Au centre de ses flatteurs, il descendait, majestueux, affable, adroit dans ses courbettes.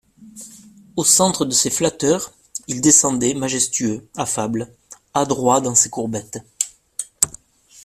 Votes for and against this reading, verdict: 2, 0, accepted